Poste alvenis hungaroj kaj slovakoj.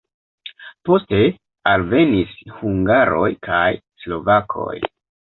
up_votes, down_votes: 3, 0